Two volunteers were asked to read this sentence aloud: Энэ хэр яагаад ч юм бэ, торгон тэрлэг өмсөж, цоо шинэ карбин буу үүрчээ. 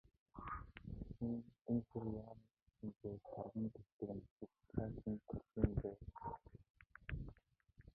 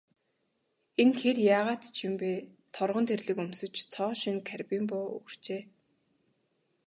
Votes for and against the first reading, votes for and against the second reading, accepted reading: 0, 2, 2, 0, second